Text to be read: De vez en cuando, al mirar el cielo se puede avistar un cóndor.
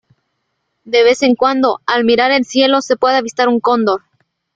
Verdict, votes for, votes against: accepted, 2, 1